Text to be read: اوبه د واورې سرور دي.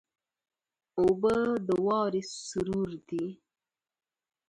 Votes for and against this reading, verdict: 1, 2, rejected